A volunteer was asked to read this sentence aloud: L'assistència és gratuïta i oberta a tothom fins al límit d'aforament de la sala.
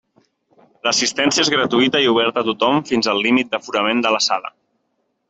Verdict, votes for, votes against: accepted, 2, 0